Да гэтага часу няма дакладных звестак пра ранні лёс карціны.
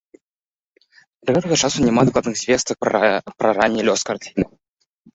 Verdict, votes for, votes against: rejected, 0, 2